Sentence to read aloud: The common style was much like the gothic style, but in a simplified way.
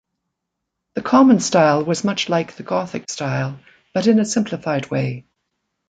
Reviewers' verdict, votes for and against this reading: accepted, 2, 0